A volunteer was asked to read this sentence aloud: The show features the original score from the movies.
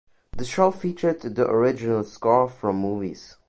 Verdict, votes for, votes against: rejected, 1, 2